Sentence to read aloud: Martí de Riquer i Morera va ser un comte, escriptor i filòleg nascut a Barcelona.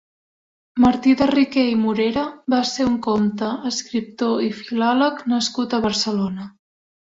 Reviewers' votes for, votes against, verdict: 3, 0, accepted